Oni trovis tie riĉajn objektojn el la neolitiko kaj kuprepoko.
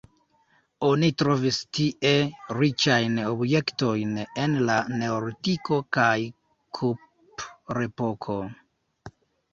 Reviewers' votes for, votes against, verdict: 0, 2, rejected